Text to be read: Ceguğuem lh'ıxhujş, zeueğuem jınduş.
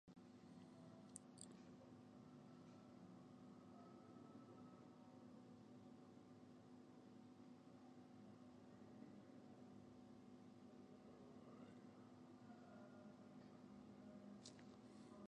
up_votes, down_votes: 0, 2